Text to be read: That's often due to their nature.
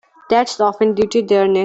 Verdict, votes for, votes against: rejected, 0, 2